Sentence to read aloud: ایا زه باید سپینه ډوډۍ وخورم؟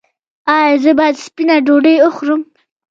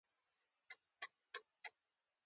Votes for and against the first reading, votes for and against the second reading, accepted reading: 2, 0, 0, 2, first